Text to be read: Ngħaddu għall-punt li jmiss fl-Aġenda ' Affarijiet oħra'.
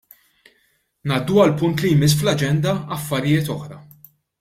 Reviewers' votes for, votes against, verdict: 2, 0, accepted